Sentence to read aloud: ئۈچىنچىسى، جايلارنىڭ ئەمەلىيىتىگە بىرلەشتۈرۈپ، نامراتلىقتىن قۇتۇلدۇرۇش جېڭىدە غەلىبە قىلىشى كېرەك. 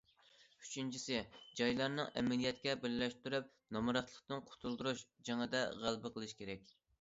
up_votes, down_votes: 0, 2